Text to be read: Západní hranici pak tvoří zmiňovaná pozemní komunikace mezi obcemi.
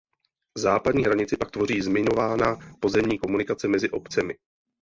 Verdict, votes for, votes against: rejected, 0, 2